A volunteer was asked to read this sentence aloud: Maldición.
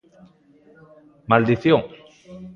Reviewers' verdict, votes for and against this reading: accepted, 2, 0